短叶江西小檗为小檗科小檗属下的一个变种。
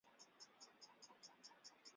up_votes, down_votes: 1, 3